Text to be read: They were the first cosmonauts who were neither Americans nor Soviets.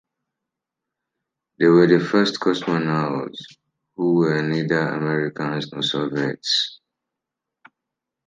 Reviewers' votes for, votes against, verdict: 2, 0, accepted